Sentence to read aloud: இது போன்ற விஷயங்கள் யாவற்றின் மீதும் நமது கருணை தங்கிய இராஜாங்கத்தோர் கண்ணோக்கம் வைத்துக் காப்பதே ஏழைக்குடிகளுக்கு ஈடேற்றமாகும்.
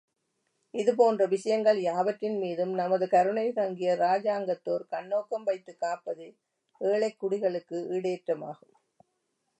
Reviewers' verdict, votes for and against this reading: accepted, 2, 0